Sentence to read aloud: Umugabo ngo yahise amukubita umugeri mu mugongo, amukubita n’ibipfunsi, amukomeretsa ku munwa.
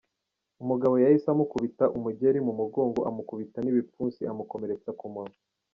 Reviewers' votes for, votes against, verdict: 2, 1, accepted